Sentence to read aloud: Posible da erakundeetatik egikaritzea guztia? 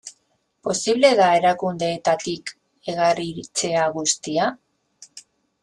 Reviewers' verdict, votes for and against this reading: rejected, 0, 2